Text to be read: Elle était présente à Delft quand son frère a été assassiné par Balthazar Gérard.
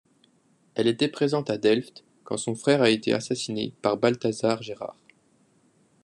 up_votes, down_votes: 3, 0